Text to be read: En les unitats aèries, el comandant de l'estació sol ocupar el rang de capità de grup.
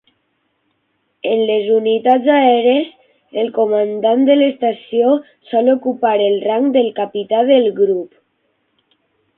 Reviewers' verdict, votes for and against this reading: rejected, 0, 6